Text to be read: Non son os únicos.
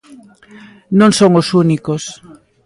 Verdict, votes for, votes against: accepted, 2, 0